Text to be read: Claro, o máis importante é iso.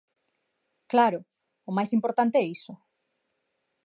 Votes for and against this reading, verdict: 2, 0, accepted